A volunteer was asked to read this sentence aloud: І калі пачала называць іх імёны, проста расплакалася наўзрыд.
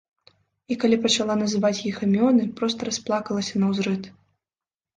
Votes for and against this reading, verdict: 2, 0, accepted